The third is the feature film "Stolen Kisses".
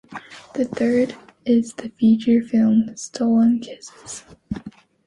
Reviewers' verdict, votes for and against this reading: accepted, 2, 0